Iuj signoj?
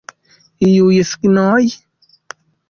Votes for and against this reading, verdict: 1, 3, rejected